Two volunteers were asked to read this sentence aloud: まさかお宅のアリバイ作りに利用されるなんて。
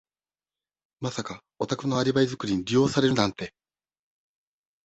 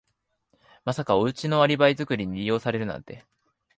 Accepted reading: first